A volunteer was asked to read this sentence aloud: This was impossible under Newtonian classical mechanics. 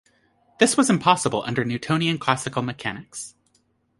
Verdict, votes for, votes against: accepted, 2, 0